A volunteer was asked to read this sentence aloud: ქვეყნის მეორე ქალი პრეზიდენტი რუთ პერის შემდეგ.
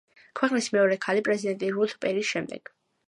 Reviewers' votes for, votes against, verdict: 2, 0, accepted